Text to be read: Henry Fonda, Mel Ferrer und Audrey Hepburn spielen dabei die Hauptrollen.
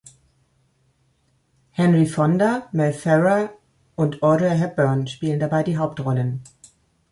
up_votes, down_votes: 2, 0